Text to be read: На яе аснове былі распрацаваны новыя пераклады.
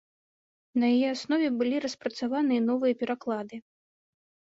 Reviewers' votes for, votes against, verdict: 2, 0, accepted